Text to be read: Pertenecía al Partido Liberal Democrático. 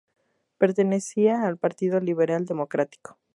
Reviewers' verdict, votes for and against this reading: accepted, 2, 0